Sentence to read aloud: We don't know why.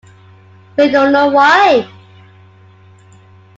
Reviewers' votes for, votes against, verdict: 2, 1, accepted